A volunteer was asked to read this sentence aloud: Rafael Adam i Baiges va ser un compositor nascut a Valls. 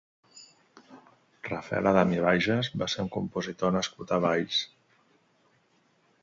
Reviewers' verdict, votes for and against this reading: accepted, 2, 0